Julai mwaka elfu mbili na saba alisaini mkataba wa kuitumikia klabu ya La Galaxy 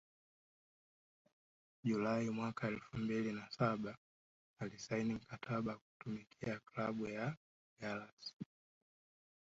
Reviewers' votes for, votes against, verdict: 1, 2, rejected